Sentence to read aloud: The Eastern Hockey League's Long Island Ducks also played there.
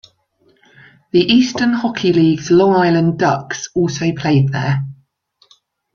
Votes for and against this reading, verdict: 2, 1, accepted